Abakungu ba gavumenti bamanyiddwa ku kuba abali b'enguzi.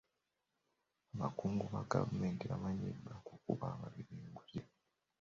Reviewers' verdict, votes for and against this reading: rejected, 1, 2